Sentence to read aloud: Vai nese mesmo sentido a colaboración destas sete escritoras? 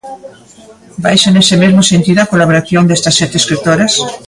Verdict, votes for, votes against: rejected, 0, 2